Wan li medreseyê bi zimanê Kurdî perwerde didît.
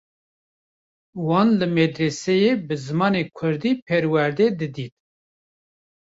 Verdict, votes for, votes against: accepted, 2, 0